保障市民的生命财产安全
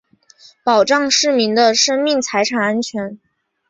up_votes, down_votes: 7, 0